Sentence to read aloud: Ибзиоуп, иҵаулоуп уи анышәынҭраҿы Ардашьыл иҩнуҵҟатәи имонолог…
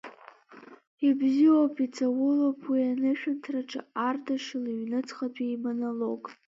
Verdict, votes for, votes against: rejected, 1, 2